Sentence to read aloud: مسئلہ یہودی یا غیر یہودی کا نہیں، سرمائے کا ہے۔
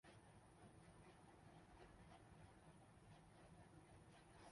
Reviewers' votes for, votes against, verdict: 0, 3, rejected